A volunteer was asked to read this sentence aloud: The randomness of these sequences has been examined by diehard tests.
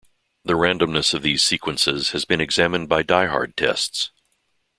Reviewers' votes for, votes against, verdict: 2, 0, accepted